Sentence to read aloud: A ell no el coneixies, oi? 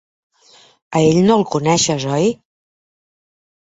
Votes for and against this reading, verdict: 1, 2, rejected